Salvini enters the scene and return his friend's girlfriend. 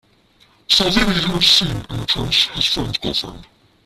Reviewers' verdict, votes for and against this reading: rejected, 0, 2